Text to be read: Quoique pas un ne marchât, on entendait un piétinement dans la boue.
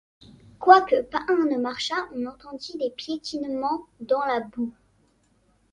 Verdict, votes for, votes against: rejected, 0, 2